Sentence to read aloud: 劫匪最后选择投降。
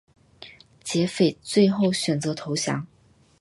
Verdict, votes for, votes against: accepted, 8, 1